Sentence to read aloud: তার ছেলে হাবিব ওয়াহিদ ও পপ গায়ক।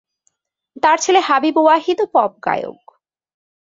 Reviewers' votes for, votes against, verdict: 2, 0, accepted